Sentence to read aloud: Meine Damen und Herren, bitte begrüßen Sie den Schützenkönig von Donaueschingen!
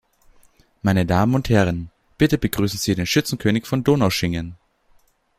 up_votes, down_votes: 0, 2